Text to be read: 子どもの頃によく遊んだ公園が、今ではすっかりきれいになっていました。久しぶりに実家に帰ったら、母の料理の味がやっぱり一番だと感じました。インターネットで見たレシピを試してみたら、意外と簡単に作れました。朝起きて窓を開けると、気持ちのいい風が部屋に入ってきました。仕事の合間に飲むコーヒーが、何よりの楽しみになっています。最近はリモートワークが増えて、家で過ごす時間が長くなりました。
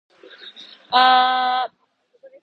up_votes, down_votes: 0, 2